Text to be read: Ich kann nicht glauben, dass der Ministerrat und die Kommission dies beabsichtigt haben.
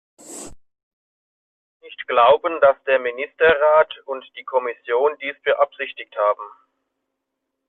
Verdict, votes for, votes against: rejected, 0, 2